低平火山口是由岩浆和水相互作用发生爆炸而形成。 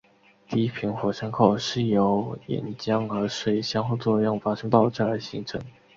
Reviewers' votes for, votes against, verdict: 2, 0, accepted